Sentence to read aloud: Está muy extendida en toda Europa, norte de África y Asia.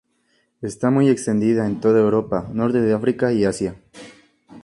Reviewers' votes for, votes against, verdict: 2, 0, accepted